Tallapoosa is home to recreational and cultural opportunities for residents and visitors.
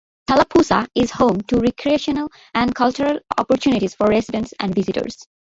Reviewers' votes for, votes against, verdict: 2, 0, accepted